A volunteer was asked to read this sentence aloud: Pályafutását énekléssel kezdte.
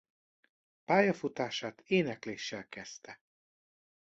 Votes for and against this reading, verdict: 2, 0, accepted